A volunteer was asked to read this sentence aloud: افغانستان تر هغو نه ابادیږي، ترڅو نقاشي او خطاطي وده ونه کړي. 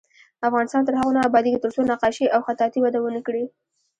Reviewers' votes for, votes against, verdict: 2, 1, accepted